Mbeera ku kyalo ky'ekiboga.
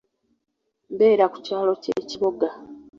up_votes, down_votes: 0, 2